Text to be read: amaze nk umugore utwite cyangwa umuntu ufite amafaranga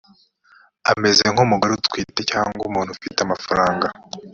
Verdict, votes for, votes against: rejected, 1, 2